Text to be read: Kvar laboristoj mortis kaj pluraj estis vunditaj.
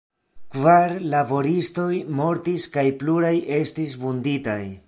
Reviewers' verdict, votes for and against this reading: rejected, 1, 2